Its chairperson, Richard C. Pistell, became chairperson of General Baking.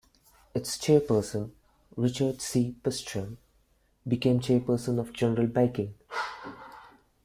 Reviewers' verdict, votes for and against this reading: accepted, 2, 1